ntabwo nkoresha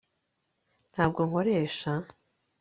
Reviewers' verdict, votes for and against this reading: accepted, 2, 0